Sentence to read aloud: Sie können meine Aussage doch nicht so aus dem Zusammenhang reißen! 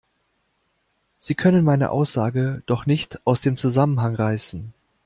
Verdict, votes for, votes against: rejected, 0, 2